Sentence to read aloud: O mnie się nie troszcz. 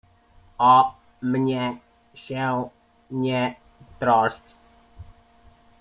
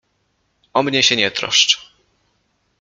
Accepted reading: second